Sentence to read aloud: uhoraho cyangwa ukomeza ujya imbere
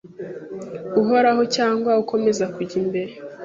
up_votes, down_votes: 1, 2